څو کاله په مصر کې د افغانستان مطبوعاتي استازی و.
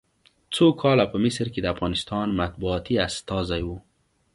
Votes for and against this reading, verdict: 2, 0, accepted